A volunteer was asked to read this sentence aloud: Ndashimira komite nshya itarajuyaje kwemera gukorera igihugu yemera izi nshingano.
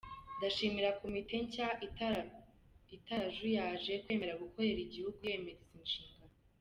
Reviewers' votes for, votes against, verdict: 1, 2, rejected